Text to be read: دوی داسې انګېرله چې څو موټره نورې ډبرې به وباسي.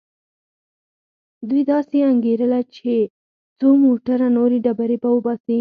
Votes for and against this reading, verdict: 2, 4, rejected